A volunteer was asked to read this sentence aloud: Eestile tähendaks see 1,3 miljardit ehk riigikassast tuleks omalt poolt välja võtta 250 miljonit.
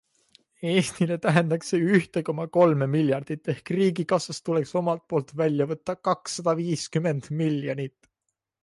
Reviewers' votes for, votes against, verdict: 0, 2, rejected